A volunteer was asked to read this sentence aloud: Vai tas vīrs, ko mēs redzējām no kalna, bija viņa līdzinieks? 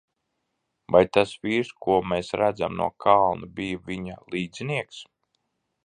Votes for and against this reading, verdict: 0, 2, rejected